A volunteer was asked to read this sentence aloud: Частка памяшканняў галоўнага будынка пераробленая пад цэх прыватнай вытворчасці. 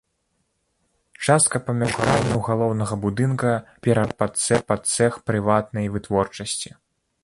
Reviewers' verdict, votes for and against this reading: rejected, 0, 2